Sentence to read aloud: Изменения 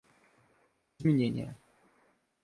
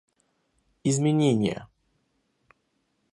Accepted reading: second